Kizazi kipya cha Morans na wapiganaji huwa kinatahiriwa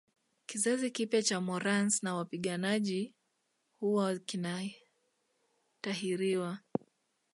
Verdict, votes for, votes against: rejected, 0, 2